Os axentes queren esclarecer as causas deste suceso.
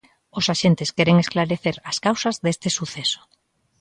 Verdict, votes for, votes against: accepted, 2, 0